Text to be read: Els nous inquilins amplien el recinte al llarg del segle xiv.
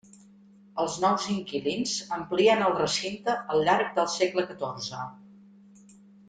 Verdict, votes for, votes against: accepted, 2, 0